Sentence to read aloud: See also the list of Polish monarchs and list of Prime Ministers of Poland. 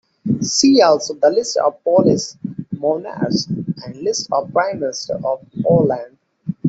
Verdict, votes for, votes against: rejected, 0, 2